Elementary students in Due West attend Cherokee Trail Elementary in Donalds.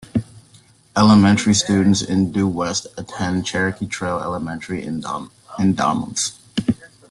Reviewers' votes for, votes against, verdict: 0, 2, rejected